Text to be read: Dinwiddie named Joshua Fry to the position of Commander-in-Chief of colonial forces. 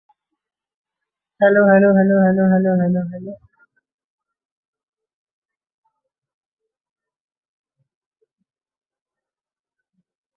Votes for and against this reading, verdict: 0, 2, rejected